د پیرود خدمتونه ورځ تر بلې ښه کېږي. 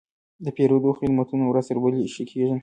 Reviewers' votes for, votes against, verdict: 1, 2, rejected